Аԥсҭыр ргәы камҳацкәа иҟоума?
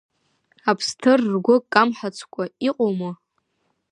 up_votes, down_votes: 2, 0